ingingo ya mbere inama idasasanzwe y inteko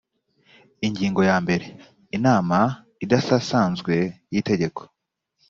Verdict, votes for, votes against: rejected, 1, 2